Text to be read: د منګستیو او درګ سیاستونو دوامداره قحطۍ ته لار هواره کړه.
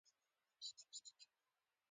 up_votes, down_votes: 1, 2